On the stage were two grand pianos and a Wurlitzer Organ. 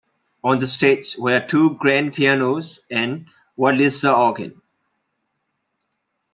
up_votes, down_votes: 1, 2